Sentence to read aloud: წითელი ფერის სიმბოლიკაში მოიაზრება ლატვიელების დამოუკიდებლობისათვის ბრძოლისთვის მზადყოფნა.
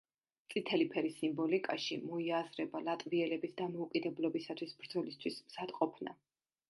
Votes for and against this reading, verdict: 2, 0, accepted